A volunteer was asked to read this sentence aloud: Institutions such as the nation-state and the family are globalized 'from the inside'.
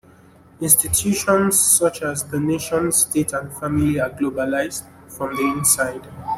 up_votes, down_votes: 1, 2